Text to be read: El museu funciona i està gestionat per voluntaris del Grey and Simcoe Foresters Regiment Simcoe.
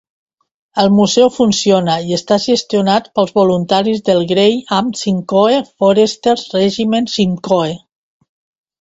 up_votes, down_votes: 1, 2